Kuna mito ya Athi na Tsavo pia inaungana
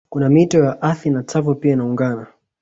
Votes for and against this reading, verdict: 2, 1, accepted